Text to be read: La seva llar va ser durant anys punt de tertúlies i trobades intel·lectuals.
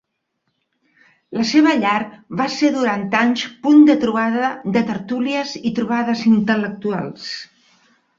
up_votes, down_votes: 0, 2